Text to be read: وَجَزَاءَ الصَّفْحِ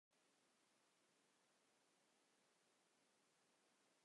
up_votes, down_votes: 0, 2